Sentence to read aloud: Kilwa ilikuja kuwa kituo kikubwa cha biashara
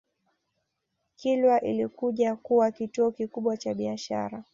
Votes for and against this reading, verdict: 2, 0, accepted